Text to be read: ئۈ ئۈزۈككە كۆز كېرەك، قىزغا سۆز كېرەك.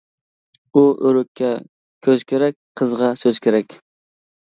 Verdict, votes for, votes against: rejected, 0, 2